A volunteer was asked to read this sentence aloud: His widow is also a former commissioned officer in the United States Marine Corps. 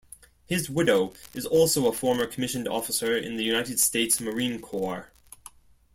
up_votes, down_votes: 2, 0